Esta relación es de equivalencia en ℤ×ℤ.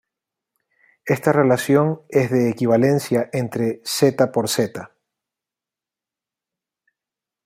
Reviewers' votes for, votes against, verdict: 0, 2, rejected